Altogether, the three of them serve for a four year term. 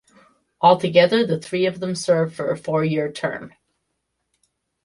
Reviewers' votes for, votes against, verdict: 2, 0, accepted